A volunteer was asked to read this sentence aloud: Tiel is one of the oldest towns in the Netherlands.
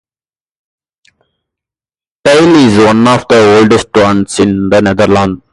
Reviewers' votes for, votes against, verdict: 2, 0, accepted